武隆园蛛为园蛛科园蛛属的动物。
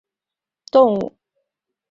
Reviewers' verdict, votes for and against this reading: rejected, 1, 2